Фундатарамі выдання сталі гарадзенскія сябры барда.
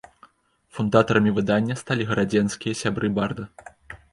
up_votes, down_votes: 2, 0